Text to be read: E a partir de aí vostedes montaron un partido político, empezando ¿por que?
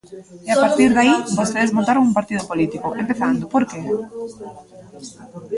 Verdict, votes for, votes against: rejected, 0, 5